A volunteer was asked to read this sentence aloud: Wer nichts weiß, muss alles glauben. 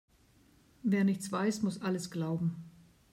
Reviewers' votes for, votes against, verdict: 2, 0, accepted